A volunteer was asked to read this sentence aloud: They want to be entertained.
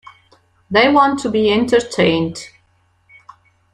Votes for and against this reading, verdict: 2, 0, accepted